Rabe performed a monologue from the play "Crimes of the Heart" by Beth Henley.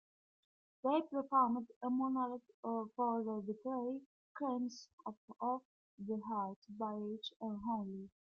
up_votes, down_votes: 0, 3